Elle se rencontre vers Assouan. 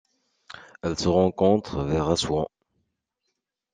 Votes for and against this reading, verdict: 2, 0, accepted